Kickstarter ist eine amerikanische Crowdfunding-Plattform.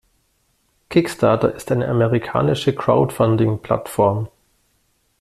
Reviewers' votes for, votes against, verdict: 2, 0, accepted